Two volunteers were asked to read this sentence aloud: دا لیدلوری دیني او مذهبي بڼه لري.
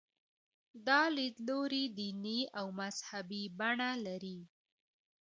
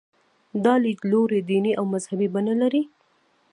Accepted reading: first